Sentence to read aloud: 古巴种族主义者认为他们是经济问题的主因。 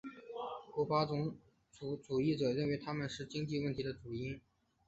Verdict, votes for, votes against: accepted, 3, 1